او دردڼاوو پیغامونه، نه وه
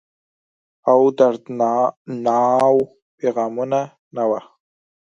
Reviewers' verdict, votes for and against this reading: accepted, 4, 2